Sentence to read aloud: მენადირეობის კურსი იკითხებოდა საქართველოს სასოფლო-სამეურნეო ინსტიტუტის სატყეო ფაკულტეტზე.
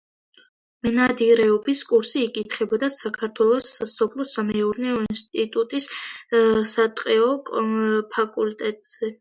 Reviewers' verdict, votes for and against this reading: accepted, 2, 0